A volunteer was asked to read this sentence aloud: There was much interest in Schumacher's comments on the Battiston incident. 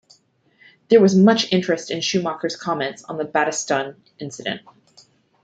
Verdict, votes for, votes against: accepted, 2, 0